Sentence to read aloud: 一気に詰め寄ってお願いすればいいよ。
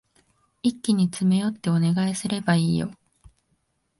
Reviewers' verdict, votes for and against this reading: accepted, 12, 1